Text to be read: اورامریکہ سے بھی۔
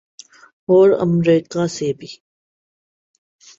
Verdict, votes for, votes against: accepted, 8, 1